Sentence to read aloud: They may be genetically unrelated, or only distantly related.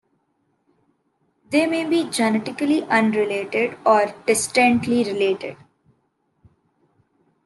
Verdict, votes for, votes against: accepted, 2, 1